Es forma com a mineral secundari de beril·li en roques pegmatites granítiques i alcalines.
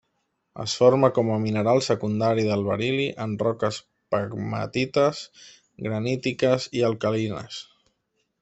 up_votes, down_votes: 1, 2